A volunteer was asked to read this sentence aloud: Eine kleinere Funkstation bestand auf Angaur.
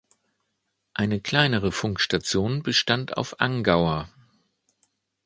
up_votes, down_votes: 2, 0